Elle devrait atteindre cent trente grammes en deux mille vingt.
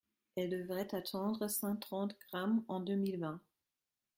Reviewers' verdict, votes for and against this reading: rejected, 0, 3